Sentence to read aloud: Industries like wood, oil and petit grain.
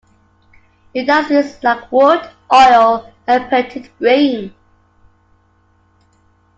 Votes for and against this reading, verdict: 0, 2, rejected